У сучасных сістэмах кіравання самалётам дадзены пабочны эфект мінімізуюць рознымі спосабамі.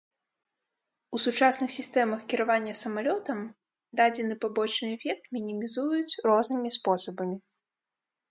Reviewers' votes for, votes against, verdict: 3, 0, accepted